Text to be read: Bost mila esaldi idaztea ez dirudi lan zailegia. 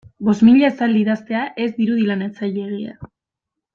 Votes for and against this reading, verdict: 1, 2, rejected